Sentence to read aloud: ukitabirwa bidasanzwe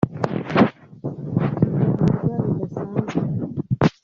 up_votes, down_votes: 1, 2